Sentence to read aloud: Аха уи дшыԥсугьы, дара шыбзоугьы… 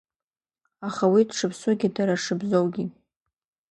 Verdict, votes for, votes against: accepted, 2, 1